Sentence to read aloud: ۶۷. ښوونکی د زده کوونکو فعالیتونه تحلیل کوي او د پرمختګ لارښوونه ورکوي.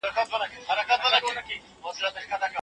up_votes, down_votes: 0, 2